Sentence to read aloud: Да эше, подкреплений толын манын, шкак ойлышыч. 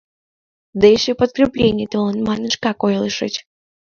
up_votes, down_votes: 2, 0